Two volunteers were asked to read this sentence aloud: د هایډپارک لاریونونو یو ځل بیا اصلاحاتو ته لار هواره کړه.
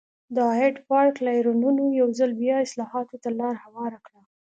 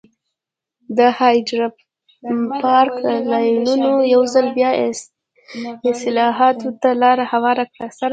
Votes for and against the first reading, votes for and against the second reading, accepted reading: 2, 0, 1, 2, first